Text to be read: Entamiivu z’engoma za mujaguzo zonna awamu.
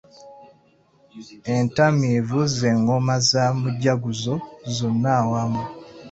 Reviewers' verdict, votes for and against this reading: accepted, 2, 0